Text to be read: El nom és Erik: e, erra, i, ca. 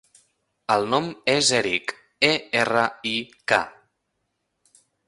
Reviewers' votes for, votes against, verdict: 1, 2, rejected